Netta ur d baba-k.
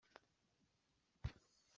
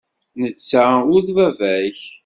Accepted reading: second